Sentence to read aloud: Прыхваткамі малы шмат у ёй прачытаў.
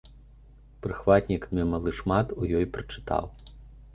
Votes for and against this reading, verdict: 0, 2, rejected